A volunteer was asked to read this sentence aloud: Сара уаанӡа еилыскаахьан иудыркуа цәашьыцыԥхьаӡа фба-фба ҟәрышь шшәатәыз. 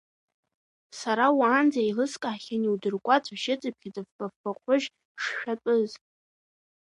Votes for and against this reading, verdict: 2, 0, accepted